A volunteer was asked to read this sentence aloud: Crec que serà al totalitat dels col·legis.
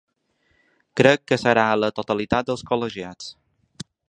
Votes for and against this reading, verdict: 0, 2, rejected